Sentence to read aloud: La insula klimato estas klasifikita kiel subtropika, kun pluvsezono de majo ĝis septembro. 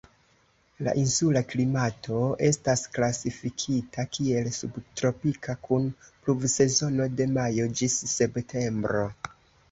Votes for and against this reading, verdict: 2, 0, accepted